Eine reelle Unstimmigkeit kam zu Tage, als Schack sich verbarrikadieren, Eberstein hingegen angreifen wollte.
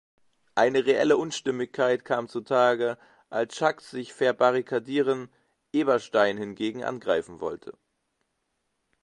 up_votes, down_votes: 2, 0